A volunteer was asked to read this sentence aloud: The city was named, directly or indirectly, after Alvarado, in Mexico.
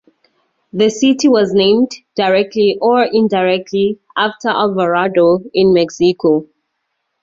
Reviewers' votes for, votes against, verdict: 4, 0, accepted